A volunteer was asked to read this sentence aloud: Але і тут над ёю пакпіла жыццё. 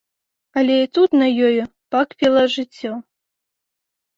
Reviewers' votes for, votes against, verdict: 0, 2, rejected